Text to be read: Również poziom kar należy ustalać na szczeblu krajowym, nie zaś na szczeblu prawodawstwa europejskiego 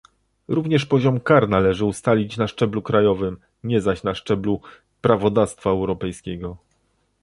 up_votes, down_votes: 1, 2